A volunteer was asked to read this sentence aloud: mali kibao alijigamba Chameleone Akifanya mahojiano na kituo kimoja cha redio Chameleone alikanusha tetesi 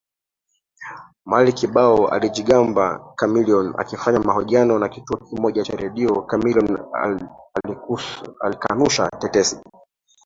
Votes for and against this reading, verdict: 0, 2, rejected